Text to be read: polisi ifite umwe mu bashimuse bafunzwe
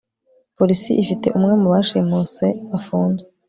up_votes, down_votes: 3, 0